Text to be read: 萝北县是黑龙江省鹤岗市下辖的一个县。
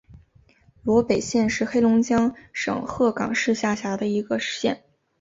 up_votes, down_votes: 3, 0